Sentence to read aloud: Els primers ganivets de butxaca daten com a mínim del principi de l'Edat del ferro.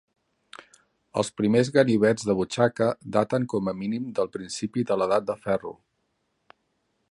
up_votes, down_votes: 1, 2